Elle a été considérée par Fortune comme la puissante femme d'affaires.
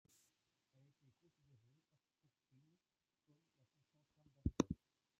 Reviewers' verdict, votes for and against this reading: rejected, 1, 2